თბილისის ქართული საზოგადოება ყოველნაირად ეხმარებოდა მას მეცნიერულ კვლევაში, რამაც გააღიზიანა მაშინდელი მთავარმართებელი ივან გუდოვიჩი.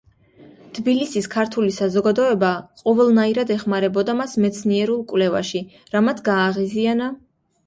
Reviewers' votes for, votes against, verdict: 0, 2, rejected